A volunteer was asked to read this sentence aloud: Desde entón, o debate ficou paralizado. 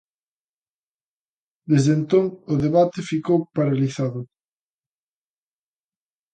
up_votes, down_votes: 2, 0